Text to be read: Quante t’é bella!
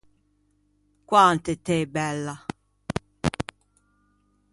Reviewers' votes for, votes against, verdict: 0, 2, rejected